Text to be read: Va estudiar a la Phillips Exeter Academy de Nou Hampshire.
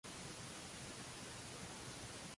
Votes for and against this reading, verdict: 0, 2, rejected